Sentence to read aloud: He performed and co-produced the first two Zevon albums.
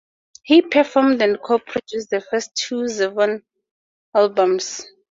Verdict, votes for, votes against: accepted, 4, 2